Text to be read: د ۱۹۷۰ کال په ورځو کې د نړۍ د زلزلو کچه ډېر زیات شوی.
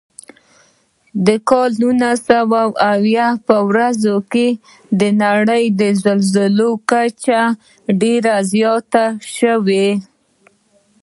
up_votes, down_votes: 0, 2